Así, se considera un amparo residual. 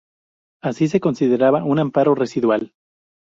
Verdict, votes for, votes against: rejected, 0, 2